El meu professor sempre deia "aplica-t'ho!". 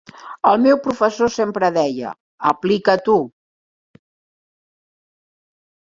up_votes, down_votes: 2, 0